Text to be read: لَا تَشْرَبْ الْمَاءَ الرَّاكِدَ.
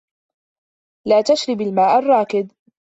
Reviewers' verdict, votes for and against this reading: accepted, 2, 1